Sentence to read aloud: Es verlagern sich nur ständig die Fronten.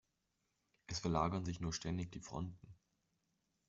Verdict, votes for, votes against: accepted, 2, 0